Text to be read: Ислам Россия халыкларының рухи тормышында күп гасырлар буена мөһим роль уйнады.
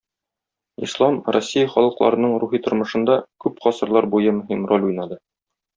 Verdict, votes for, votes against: rejected, 1, 2